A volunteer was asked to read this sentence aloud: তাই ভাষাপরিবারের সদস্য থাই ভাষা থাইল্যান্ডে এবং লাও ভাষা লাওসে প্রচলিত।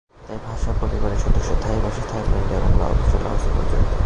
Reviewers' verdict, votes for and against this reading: rejected, 0, 2